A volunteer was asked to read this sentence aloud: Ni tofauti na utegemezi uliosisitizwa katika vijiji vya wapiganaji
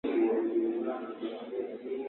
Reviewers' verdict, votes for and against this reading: rejected, 0, 2